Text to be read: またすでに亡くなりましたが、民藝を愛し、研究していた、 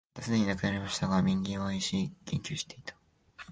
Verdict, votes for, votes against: rejected, 0, 2